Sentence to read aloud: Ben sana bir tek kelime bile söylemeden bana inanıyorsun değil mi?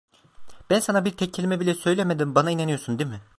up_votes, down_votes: 1, 2